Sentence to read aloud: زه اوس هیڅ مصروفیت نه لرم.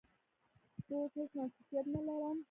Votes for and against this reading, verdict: 1, 2, rejected